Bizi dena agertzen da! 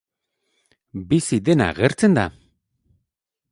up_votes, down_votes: 6, 0